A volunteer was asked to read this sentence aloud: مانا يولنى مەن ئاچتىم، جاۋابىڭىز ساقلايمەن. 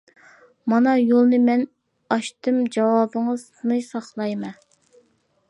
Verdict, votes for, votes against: rejected, 0, 2